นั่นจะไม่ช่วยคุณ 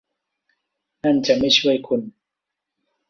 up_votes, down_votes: 2, 0